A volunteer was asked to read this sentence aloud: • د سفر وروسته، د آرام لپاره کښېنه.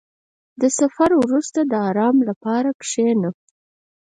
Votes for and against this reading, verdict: 2, 4, rejected